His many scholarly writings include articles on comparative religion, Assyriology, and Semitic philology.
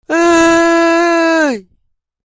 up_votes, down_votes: 0, 2